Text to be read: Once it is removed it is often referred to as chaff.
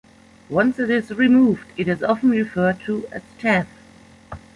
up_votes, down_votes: 2, 0